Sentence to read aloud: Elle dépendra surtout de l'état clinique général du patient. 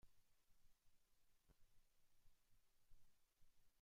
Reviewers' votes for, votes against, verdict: 0, 2, rejected